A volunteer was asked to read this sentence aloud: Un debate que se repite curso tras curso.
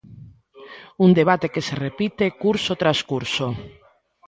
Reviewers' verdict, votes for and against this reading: accepted, 2, 0